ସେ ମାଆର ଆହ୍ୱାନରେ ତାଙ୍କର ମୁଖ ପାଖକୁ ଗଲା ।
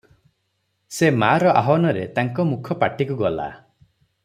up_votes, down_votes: 0, 3